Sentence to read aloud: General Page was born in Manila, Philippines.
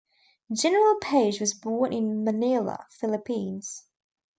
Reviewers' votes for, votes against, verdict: 2, 1, accepted